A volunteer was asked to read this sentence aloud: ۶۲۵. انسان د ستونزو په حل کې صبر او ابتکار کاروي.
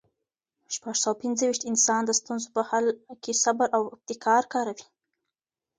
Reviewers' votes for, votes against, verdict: 0, 2, rejected